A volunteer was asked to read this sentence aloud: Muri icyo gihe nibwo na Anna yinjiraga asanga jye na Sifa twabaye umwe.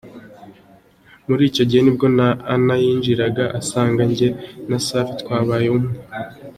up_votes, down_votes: 2, 0